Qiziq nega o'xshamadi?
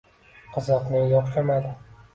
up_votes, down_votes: 2, 0